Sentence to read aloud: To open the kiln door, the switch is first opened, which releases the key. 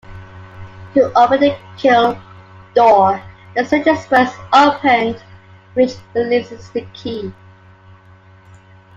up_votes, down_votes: 2, 0